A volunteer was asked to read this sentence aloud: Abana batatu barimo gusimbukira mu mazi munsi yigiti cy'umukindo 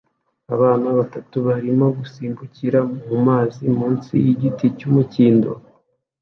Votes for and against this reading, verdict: 2, 0, accepted